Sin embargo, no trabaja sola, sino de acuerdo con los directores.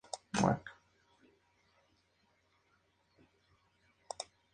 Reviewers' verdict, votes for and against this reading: rejected, 0, 2